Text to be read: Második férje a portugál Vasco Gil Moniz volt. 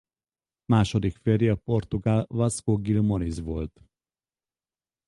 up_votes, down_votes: 2, 2